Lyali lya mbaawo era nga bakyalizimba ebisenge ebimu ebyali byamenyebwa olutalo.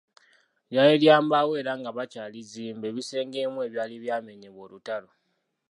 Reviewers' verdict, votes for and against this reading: accepted, 2, 0